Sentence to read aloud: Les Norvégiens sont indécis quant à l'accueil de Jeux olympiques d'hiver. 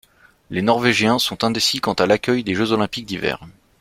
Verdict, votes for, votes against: accepted, 2, 0